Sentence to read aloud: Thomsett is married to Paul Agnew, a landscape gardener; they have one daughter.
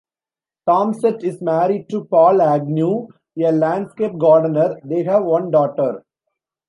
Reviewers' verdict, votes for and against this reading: accepted, 2, 0